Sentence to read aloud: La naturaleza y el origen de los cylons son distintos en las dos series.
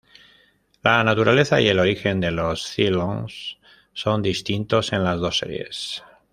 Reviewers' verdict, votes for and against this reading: rejected, 1, 2